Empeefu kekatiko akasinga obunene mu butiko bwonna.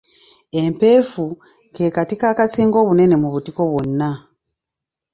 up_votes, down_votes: 1, 2